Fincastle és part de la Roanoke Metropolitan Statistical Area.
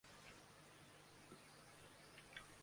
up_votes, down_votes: 0, 2